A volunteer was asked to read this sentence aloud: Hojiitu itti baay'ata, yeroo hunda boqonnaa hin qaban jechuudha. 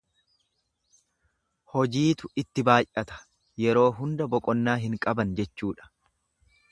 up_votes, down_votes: 2, 0